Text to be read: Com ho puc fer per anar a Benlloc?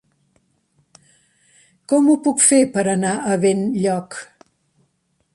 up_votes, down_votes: 3, 0